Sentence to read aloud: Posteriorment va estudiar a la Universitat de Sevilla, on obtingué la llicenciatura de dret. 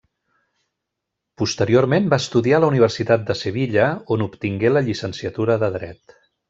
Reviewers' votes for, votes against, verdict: 3, 0, accepted